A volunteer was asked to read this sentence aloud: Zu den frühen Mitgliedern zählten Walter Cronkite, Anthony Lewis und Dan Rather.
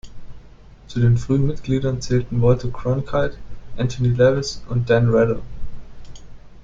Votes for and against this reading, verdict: 1, 2, rejected